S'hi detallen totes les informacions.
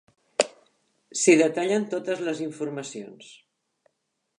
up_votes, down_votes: 2, 0